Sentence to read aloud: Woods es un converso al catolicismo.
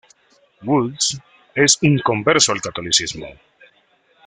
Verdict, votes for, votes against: rejected, 1, 2